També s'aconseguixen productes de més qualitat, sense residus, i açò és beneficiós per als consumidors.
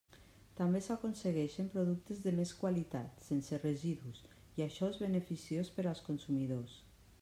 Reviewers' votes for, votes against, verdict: 0, 2, rejected